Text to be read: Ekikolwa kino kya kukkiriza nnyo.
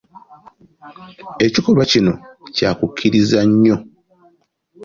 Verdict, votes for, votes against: accepted, 2, 0